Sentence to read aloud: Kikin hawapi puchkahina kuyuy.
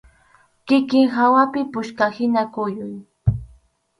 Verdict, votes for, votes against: accepted, 2, 0